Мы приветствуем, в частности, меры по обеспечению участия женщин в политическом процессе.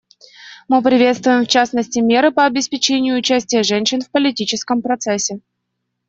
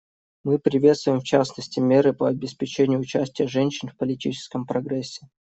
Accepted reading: first